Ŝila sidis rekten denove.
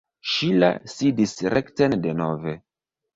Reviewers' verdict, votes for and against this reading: rejected, 1, 2